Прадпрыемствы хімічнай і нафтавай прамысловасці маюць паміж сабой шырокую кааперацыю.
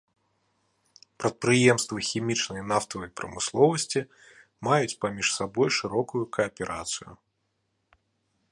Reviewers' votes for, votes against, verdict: 2, 0, accepted